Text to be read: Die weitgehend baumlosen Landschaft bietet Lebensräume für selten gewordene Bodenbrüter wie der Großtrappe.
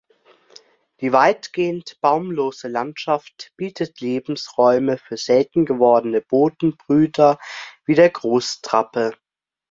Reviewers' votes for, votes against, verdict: 2, 0, accepted